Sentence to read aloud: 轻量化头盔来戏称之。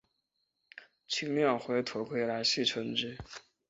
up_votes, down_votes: 5, 3